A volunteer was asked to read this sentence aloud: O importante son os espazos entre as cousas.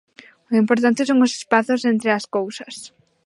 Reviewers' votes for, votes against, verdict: 2, 0, accepted